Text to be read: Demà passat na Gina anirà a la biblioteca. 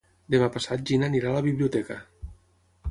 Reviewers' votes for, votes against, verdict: 0, 9, rejected